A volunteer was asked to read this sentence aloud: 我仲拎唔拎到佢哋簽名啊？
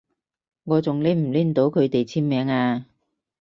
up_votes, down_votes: 4, 0